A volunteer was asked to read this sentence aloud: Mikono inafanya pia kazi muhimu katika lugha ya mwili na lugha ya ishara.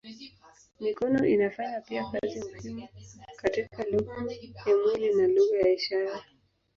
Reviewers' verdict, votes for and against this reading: rejected, 4, 4